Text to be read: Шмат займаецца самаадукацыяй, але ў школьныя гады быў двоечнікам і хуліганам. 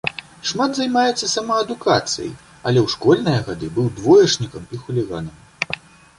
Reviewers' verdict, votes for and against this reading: accepted, 2, 0